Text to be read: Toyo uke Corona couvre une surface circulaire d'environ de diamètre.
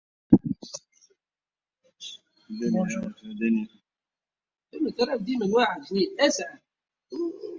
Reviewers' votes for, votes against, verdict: 0, 2, rejected